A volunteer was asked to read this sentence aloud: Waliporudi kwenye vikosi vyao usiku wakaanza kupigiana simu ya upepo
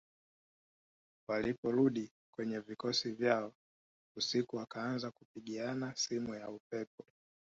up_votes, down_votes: 3, 0